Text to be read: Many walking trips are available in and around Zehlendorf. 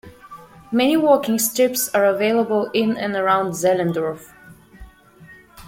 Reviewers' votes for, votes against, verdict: 1, 2, rejected